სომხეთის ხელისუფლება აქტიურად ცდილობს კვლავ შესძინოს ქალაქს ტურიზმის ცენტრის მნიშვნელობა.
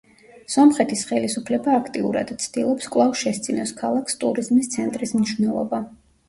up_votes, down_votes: 1, 2